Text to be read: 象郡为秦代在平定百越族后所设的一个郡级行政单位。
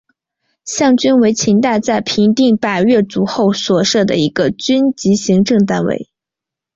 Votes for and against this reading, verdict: 4, 0, accepted